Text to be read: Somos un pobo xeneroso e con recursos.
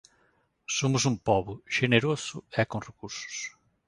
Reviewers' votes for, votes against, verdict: 2, 0, accepted